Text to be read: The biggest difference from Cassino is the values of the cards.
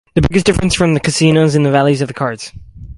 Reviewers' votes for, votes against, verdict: 2, 2, rejected